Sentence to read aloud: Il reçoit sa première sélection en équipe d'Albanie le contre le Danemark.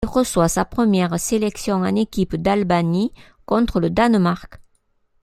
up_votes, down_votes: 0, 2